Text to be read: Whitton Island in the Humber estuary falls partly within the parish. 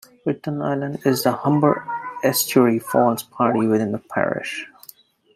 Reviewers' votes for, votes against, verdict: 0, 2, rejected